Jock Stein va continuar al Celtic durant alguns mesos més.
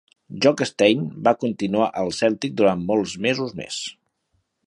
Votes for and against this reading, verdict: 1, 2, rejected